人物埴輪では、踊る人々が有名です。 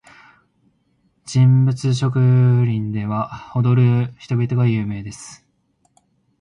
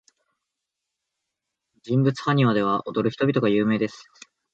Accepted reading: second